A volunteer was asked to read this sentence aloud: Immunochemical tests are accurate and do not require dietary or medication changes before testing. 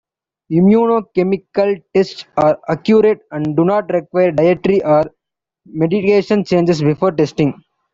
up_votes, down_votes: 1, 2